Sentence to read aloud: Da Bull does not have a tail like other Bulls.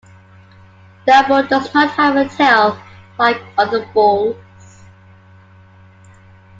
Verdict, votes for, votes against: accepted, 2, 1